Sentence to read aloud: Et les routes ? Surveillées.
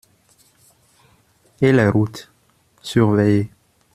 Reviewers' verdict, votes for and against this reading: rejected, 1, 2